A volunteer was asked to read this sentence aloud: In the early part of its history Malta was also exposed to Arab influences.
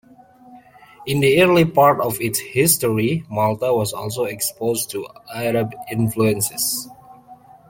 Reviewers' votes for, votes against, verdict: 2, 0, accepted